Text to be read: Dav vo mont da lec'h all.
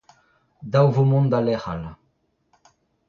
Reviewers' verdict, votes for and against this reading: accepted, 2, 1